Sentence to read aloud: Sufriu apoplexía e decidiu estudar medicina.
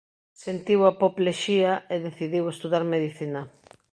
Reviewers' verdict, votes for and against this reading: rejected, 0, 2